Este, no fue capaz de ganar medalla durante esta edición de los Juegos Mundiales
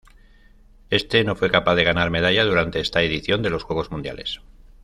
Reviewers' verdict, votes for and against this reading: accepted, 2, 0